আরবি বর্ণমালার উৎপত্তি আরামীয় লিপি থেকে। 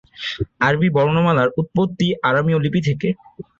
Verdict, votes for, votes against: accepted, 2, 0